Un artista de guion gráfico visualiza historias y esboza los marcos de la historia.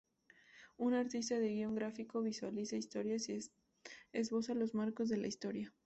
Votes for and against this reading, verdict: 2, 0, accepted